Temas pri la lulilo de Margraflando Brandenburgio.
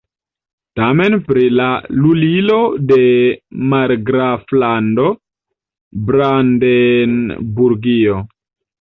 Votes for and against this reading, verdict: 1, 2, rejected